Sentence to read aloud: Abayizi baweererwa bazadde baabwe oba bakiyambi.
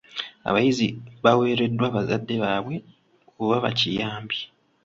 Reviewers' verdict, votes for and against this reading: accepted, 2, 1